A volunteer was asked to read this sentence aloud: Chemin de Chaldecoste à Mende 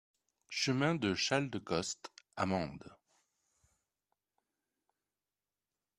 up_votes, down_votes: 2, 0